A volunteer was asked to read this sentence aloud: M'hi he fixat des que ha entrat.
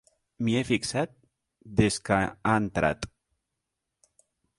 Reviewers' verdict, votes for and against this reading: accepted, 5, 0